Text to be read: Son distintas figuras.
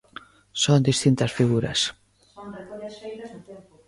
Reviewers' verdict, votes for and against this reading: rejected, 1, 2